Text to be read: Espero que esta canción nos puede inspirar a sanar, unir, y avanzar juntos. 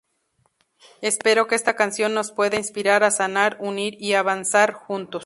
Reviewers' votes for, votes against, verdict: 2, 0, accepted